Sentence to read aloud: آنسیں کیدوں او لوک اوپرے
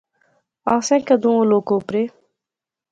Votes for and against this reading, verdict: 2, 0, accepted